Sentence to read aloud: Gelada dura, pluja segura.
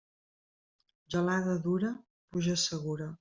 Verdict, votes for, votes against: accepted, 2, 1